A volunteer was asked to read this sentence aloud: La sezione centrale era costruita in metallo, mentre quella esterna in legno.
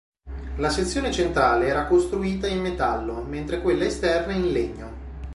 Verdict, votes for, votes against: accepted, 3, 0